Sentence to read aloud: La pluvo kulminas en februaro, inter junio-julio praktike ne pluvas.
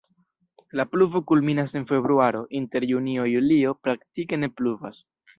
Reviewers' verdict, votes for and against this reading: rejected, 1, 2